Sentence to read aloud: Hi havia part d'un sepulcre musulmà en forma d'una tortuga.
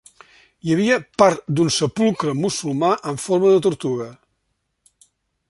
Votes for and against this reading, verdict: 0, 2, rejected